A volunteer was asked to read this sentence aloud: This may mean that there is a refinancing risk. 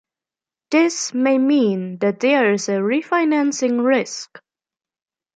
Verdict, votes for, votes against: accepted, 2, 1